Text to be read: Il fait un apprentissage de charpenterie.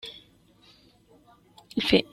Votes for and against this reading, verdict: 0, 2, rejected